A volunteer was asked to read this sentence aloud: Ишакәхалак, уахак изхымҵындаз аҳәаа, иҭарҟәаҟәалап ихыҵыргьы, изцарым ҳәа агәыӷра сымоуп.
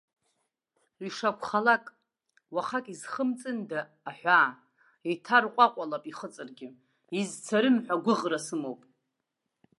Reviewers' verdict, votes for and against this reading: accepted, 2, 1